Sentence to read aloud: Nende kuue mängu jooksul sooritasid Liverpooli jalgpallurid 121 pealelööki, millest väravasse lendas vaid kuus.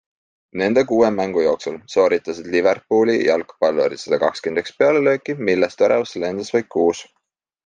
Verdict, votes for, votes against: rejected, 0, 2